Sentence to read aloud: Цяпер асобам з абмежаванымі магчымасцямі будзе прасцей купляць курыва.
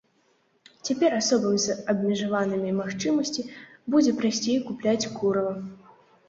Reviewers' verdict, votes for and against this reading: rejected, 0, 2